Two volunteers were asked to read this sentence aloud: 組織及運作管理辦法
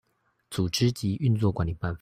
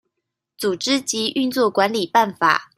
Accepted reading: second